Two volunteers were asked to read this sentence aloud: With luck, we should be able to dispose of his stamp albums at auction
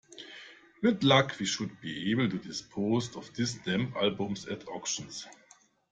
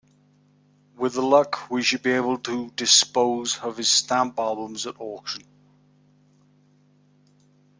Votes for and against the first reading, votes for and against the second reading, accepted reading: 1, 2, 2, 0, second